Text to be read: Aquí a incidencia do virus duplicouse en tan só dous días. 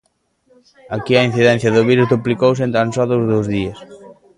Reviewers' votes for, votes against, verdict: 0, 2, rejected